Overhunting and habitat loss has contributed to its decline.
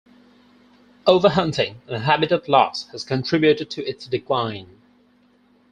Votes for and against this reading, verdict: 4, 0, accepted